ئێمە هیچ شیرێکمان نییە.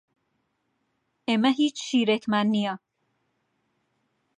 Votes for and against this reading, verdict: 2, 0, accepted